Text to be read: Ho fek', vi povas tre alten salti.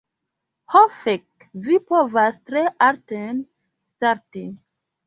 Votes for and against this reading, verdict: 2, 1, accepted